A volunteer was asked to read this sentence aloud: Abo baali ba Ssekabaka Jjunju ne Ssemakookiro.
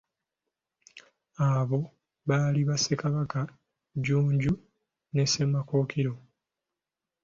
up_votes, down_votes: 2, 0